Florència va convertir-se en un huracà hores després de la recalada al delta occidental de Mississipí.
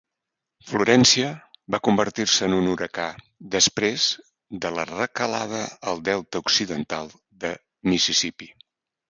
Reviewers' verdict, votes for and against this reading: rejected, 1, 3